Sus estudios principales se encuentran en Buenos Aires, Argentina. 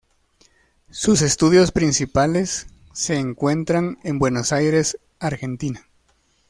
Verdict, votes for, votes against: accepted, 2, 0